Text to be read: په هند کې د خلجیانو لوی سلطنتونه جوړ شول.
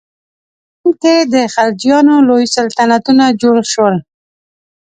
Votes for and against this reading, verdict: 1, 2, rejected